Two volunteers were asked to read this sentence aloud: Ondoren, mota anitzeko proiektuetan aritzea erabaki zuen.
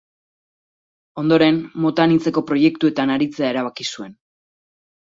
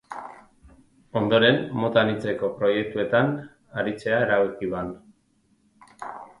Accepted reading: first